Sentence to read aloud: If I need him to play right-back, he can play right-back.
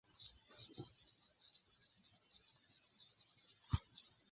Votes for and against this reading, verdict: 0, 2, rejected